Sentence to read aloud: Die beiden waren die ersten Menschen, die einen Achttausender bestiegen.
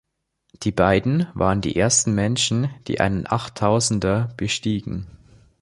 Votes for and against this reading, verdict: 2, 0, accepted